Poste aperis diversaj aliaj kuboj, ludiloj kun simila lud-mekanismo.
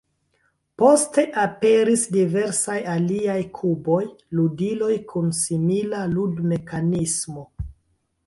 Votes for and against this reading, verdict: 0, 2, rejected